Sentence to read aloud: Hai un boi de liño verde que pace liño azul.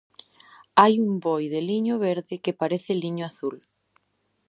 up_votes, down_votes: 0, 2